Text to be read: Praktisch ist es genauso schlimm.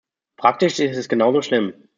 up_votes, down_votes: 2, 0